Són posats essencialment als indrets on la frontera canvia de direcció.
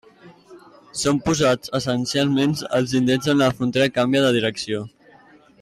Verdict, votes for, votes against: accepted, 2, 1